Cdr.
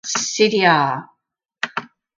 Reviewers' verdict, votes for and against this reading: rejected, 2, 2